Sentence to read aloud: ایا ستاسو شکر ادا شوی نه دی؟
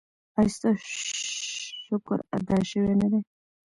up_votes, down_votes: 1, 3